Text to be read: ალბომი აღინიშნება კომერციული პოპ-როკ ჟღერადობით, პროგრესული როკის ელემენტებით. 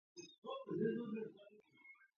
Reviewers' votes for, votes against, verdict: 0, 2, rejected